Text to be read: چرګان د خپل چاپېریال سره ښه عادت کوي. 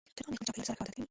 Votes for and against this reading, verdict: 0, 2, rejected